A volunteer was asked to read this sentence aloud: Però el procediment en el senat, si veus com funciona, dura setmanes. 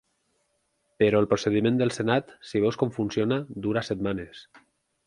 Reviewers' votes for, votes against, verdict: 0, 6, rejected